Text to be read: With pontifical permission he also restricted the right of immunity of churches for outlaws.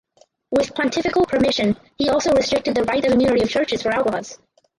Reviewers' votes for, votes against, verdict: 0, 4, rejected